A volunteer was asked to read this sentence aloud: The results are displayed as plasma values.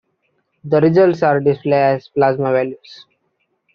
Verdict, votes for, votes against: accepted, 2, 1